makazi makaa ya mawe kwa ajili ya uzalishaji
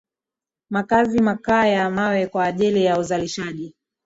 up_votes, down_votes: 1, 2